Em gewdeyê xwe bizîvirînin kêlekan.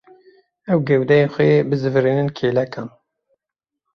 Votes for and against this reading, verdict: 0, 2, rejected